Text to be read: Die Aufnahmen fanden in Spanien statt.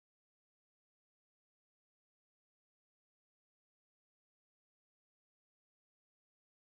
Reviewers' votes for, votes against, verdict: 0, 2, rejected